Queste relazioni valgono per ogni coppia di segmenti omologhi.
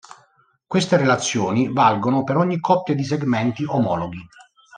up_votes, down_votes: 2, 0